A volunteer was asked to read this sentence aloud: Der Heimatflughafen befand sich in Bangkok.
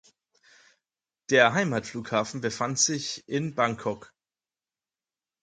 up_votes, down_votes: 4, 0